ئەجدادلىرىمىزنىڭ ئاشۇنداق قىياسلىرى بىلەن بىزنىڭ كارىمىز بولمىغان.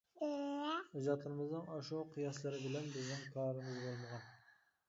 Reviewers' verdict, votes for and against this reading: rejected, 0, 2